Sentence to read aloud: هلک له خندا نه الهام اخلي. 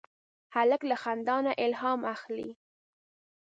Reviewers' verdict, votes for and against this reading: accepted, 2, 0